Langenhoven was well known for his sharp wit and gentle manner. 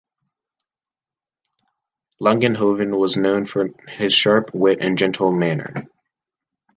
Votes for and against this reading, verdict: 1, 2, rejected